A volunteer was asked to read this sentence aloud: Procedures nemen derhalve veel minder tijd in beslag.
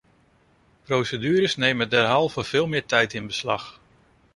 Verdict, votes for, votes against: rejected, 0, 2